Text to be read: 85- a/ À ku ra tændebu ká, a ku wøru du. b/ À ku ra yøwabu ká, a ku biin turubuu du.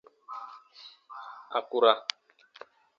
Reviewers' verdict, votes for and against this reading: rejected, 0, 2